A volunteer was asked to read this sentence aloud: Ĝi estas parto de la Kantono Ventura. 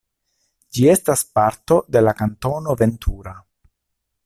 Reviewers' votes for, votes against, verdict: 2, 0, accepted